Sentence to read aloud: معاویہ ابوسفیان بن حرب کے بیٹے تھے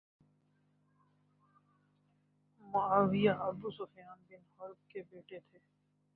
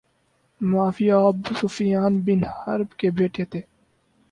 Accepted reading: second